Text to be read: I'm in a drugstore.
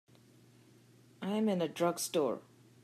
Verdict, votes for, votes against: accepted, 2, 0